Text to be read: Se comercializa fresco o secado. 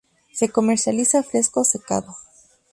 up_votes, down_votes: 0, 2